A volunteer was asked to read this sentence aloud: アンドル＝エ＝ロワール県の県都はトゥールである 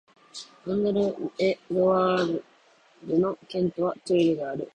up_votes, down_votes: 1, 2